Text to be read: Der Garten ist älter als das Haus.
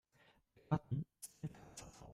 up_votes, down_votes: 0, 2